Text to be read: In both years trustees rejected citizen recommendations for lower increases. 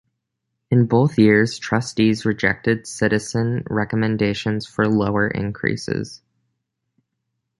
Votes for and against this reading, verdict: 2, 0, accepted